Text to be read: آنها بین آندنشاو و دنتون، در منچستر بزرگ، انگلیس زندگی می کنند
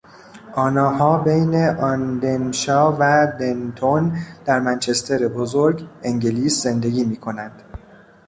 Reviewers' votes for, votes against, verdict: 1, 2, rejected